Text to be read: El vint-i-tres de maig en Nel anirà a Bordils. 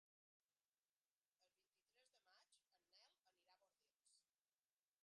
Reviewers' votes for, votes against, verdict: 0, 2, rejected